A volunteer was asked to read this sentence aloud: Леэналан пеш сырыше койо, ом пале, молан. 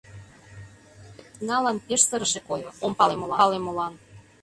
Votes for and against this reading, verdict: 0, 2, rejected